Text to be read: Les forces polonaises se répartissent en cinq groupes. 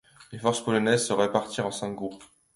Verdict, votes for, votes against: rejected, 1, 2